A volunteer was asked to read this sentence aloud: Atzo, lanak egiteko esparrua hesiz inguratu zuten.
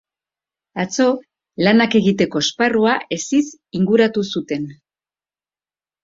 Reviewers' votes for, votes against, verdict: 2, 0, accepted